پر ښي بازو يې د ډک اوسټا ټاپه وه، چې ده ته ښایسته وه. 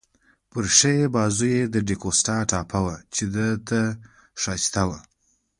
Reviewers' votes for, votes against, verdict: 2, 0, accepted